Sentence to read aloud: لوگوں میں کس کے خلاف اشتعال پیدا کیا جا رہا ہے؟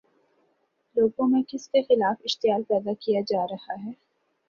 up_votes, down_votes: 2, 1